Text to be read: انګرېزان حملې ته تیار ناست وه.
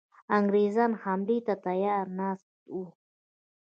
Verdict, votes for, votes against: accepted, 2, 0